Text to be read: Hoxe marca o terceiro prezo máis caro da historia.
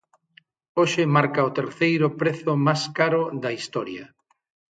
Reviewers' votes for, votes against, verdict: 3, 6, rejected